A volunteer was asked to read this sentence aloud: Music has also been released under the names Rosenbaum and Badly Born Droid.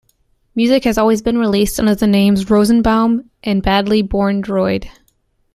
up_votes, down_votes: 0, 2